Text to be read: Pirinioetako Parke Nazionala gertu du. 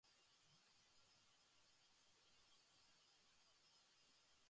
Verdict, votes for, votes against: rejected, 0, 2